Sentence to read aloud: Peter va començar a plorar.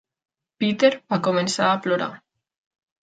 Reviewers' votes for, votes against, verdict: 3, 0, accepted